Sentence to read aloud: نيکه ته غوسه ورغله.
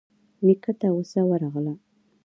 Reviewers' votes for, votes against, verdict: 2, 1, accepted